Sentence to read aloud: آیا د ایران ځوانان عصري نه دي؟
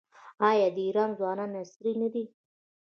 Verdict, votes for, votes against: rejected, 1, 2